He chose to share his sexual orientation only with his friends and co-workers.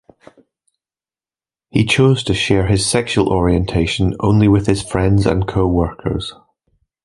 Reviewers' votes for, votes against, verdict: 2, 0, accepted